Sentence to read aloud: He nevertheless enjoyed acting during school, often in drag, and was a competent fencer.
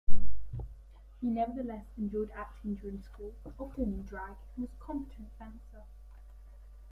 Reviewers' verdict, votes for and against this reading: accepted, 2, 0